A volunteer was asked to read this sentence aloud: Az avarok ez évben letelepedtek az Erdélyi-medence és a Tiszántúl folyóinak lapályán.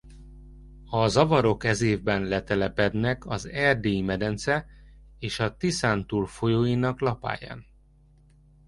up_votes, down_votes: 0, 2